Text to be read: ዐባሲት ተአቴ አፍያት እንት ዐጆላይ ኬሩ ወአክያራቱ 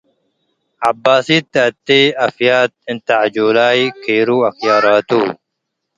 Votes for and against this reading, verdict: 2, 0, accepted